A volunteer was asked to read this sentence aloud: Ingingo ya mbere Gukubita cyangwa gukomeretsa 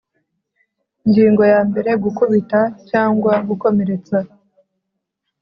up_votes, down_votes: 2, 0